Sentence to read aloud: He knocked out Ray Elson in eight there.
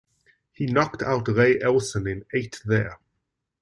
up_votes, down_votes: 2, 0